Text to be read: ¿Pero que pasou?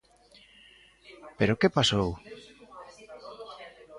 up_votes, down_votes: 2, 0